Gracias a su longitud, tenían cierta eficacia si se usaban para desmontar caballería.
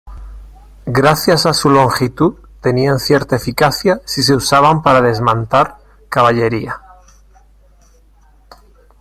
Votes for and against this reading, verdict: 1, 2, rejected